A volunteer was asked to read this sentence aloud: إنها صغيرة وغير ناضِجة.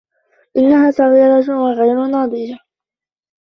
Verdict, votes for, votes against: rejected, 0, 2